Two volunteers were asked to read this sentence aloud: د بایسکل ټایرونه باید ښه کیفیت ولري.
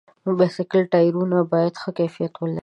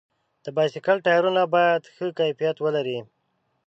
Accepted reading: second